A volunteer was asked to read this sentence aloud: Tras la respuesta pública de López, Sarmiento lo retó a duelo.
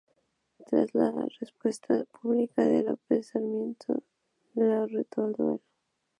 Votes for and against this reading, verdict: 0, 2, rejected